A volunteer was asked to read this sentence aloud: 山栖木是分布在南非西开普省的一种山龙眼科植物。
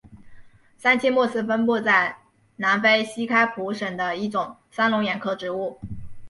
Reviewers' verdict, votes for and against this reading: rejected, 1, 2